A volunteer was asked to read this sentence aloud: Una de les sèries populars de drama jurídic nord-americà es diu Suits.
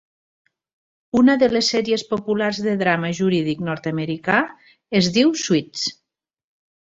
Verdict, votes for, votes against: accepted, 3, 0